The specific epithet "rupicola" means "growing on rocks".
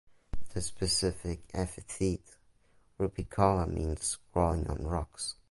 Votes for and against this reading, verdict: 0, 2, rejected